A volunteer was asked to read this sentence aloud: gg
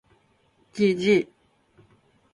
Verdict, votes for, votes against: accepted, 2, 0